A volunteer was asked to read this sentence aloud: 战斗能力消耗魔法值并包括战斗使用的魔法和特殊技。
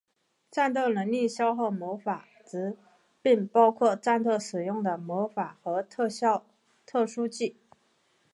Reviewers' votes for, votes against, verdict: 0, 6, rejected